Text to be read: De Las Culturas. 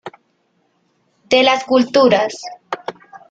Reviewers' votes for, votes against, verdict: 3, 0, accepted